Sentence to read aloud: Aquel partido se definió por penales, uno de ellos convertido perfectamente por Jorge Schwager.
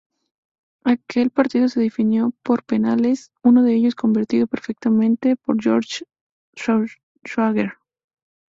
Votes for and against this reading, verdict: 0, 2, rejected